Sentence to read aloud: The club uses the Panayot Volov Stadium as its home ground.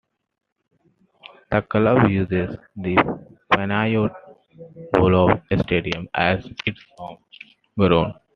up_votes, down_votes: 2, 0